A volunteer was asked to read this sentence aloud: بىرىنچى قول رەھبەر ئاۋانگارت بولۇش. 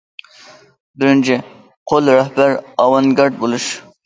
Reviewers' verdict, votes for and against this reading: accepted, 2, 1